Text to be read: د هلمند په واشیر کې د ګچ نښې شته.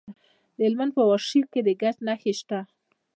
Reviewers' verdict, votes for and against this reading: rejected, 1, 2